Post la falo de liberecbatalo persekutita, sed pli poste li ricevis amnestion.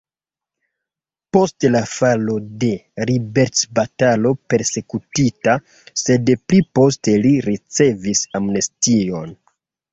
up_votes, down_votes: 2, 1